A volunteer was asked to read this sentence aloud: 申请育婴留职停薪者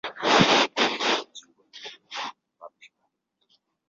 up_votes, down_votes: 0, 3